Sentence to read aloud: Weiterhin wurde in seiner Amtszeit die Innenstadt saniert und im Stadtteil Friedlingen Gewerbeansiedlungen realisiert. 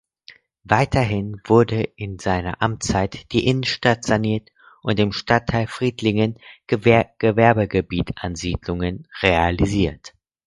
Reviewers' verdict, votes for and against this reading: rejected, 0, 4